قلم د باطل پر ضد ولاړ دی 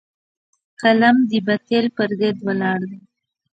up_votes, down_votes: 2, 0